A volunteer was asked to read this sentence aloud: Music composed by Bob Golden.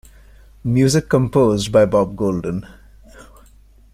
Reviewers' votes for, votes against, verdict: 2, 0, accepted